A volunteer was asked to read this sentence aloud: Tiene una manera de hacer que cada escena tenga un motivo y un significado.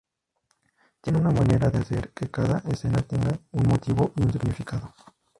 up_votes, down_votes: 0, 2